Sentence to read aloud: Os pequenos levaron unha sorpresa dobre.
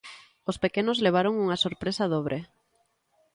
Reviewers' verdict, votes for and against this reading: accepted, 2, 0